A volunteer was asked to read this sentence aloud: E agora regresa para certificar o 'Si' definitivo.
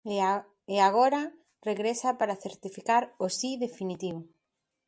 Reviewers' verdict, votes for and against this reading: rejected, 0, 2